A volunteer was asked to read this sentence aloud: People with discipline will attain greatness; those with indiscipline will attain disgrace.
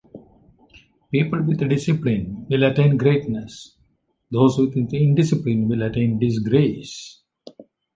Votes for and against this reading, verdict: 1, 2, rejected